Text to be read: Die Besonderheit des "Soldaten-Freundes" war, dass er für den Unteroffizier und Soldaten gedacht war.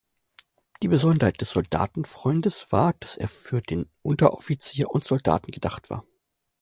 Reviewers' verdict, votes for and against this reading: rejected, 1, 2